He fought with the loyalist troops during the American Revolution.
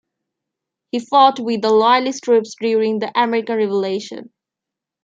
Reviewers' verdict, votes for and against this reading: rejected, 0, 2